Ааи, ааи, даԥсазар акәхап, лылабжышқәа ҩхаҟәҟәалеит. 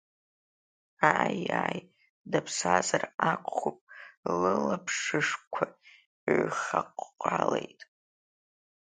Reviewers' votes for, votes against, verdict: 1, 2, rejected